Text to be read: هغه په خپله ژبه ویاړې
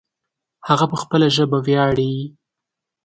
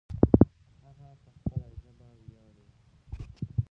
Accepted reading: first